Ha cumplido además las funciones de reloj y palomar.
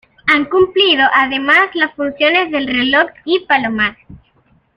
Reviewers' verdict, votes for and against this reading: rejected, 0, 2